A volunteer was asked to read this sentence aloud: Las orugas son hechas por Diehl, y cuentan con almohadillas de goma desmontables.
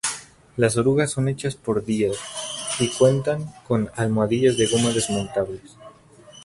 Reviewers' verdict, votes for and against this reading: rejected, 0, 2